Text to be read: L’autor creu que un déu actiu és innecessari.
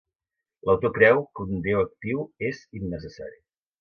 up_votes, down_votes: 3, 0